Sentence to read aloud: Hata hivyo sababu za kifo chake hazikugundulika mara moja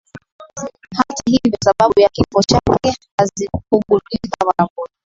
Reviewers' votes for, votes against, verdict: 6, 13, rejected